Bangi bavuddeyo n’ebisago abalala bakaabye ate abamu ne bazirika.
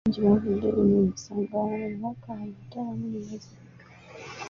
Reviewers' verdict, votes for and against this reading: rejected, 0, 2